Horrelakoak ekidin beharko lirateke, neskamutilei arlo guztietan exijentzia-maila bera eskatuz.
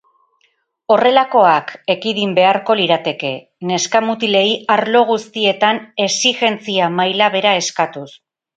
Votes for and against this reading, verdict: 0, 2, rejected